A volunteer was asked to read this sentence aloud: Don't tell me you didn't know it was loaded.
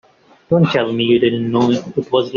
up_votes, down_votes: 1, 2